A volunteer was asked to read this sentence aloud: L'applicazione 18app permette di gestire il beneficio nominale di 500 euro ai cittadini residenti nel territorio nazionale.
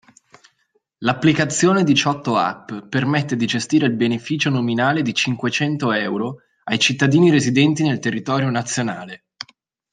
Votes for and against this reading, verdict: 0, 2, rejected